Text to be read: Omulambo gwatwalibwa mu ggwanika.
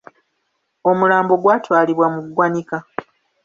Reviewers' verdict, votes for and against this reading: accepted, 2, 1